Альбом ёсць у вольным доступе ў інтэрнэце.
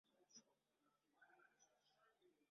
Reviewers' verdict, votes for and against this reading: rejected, 0, 2